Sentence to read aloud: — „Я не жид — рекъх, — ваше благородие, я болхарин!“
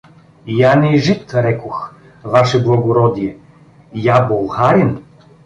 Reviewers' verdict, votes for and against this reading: rejected, 1, 2